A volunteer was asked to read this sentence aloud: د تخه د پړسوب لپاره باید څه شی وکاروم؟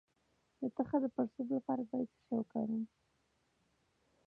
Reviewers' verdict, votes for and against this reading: rejected, 1, 2